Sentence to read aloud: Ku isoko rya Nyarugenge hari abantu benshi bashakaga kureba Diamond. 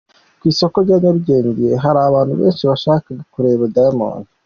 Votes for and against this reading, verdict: 2, 0, accepted